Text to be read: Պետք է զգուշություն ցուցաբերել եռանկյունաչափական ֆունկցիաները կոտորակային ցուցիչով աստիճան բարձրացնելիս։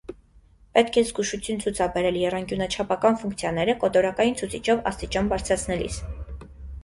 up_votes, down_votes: 2, 0